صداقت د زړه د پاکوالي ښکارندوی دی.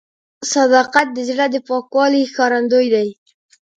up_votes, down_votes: 2, 0